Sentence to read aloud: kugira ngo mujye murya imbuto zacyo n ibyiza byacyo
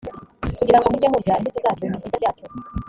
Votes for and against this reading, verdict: 1, 3, rejected